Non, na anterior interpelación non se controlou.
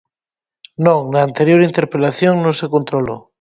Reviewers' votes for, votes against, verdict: 0, 4, rejected